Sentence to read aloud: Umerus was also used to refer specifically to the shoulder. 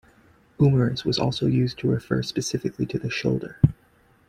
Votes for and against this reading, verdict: 2, 0, accepted